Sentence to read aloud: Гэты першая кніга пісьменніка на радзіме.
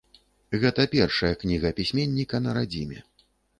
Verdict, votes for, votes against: rejected, 0, 2